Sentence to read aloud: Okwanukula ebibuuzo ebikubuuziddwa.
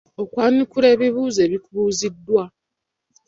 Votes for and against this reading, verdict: 2, 1, accepted